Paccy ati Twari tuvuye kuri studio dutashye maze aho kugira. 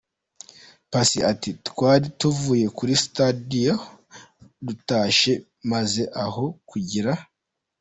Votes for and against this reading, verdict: 1, 2, rejected